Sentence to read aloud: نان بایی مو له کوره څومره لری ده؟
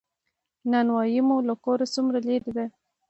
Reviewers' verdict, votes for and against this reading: accepted, 2, 0